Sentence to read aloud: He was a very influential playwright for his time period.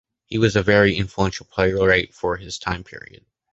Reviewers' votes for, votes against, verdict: 2, 1, accepted